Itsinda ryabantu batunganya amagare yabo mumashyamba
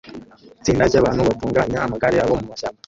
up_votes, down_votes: 0, 2